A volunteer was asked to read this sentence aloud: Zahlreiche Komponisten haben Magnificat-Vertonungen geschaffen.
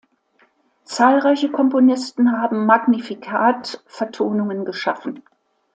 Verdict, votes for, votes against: accepted, 2, 0